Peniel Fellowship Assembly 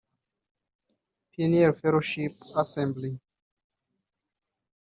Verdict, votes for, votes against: rejected, 0, 2